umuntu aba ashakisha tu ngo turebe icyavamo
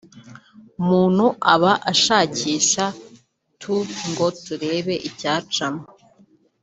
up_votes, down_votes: 1, 2